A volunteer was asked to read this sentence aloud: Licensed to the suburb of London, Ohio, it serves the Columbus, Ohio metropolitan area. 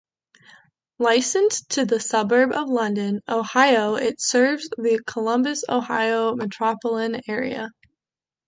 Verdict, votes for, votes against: rejected, 0, 2